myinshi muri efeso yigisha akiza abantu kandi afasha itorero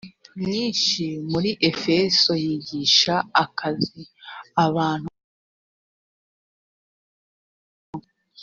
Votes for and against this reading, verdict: 1, 3, rejected